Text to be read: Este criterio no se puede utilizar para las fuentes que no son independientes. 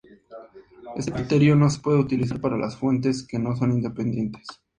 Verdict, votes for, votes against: rejected, 0, 2